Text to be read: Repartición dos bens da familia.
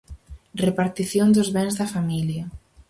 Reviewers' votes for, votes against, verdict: 4, 0, accepted